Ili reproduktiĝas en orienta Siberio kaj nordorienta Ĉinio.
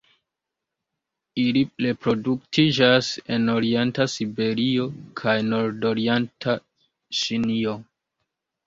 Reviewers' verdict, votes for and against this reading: accepted, 2, 0